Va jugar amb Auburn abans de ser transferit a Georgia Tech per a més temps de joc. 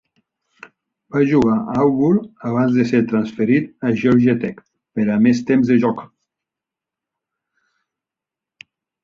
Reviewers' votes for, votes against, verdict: 1, 2, rejected